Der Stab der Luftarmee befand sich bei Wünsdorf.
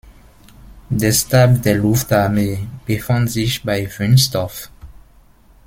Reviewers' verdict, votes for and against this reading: rejected, 1, 2